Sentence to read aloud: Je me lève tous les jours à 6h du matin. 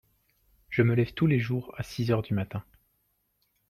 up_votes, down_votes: 0, 2